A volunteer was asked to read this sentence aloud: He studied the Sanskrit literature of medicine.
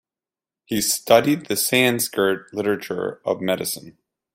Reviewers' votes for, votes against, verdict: 0, 2, rejected